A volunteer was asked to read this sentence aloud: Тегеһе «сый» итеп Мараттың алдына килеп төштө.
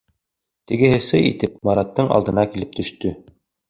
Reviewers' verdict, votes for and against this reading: accepted, 2, 0